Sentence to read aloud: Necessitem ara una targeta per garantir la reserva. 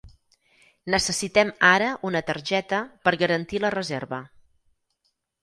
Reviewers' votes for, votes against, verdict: 6, 0, accepted